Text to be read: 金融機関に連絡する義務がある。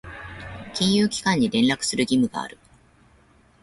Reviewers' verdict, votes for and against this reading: accepted, 3, 0